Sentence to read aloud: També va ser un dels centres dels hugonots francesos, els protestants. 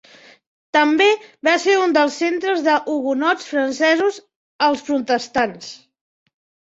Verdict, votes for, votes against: accepted, 3, 2